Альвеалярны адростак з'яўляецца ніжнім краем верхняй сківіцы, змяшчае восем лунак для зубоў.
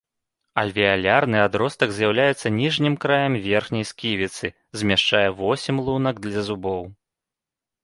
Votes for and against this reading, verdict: 2, 0, accepted